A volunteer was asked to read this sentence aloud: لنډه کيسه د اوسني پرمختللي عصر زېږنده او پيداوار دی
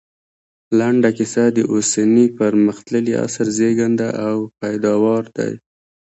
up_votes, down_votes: 2, 0